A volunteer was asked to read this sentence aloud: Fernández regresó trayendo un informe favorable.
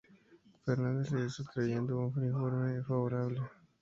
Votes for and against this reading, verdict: 2, 0, accepted